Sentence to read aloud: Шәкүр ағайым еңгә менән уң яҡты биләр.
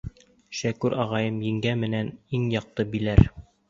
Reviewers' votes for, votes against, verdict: 0, 2, rejected